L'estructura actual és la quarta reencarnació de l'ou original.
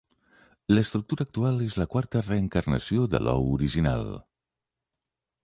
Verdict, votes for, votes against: accepted, 3, 0